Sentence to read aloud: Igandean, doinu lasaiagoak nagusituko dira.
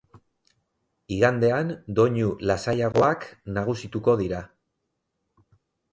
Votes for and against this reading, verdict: 0, 2, rejected